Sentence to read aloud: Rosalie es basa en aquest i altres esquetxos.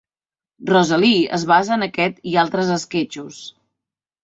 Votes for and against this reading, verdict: 2, 0, accepted